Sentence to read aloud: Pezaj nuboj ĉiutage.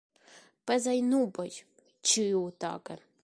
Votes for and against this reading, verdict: 2, 0, accepted